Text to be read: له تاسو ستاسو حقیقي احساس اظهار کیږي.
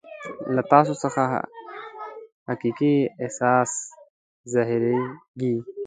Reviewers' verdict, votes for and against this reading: rejected, 1, 2